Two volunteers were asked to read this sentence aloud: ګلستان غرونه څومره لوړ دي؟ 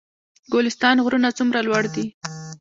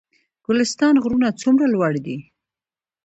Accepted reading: second